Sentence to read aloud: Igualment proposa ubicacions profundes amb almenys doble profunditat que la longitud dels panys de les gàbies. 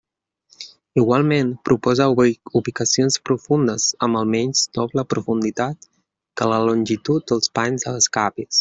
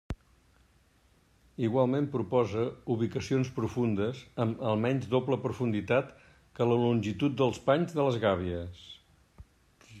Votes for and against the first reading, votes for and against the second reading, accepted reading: 0, 2, 3, 0, second